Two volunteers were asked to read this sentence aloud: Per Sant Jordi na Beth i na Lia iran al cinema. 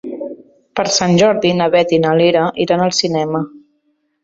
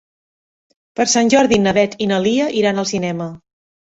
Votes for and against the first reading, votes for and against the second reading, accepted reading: 2, 3, 4, 0, second